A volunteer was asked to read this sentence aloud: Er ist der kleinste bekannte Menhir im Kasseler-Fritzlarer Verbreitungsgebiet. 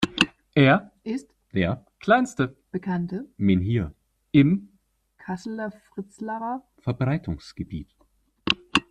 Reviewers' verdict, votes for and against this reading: rejected, 0, 2